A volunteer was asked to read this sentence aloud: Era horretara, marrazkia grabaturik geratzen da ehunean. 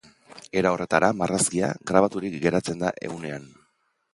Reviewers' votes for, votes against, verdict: 3, 0, accepted